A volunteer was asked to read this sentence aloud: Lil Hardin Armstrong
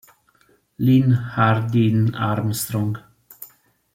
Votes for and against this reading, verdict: 2, 0, accepted